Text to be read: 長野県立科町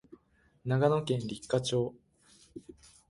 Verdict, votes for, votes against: accepted, 5, 0